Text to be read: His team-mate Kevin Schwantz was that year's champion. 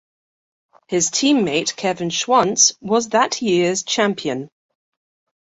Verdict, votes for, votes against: accepted, 2, 0